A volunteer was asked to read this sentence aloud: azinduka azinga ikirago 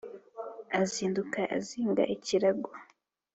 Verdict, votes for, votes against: accepted, 2, 0